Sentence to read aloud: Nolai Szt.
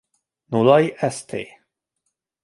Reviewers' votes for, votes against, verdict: 2, 0, accepted